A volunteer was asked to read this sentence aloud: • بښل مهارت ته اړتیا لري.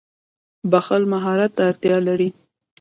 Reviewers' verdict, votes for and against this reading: rejected, 1, 2